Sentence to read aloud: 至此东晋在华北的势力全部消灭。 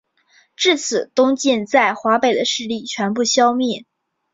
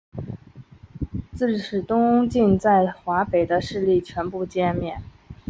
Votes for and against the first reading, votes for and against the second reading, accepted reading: 11, 0, 2, 3, first